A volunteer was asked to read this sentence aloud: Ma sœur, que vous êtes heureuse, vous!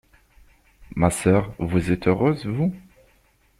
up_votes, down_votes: 1, 2